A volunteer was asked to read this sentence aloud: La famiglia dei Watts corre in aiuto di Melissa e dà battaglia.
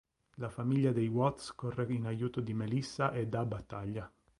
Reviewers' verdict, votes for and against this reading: rejected, 0, 2